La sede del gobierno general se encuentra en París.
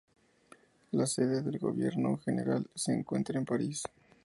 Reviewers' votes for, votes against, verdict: 4, 0, accepted